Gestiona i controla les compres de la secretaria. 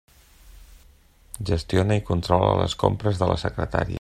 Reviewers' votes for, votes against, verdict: 3, 0, accepted